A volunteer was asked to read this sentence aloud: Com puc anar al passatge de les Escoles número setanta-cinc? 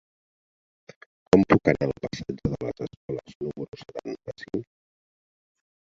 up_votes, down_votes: 0, 3